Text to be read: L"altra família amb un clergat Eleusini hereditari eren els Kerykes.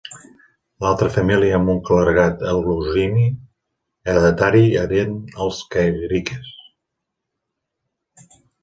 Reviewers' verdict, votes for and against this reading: rejected, 1, 2